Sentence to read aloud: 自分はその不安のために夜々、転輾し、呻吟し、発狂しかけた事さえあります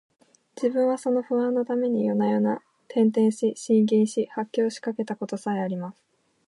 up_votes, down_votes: 2, 0